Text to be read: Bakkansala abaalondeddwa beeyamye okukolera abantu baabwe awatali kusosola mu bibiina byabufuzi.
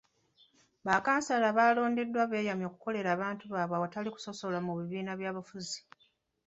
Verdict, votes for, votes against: rejected, 0, 2